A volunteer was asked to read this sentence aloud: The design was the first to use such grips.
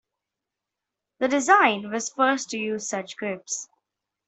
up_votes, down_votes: 0, 2